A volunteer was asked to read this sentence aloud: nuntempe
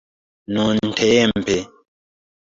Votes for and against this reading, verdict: 3, 1, accepted